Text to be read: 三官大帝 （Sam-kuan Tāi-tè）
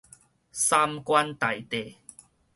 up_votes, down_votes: 4, 0